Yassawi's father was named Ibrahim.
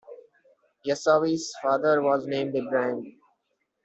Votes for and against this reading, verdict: 2, 0, accepted